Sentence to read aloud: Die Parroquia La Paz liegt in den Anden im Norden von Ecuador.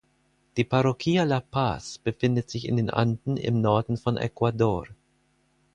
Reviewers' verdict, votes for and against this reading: rejected, 2, 4